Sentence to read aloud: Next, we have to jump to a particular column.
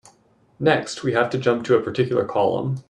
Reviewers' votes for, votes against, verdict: 2, 0, accepted